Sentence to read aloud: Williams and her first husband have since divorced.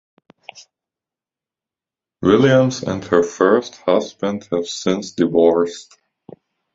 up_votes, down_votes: 2, 1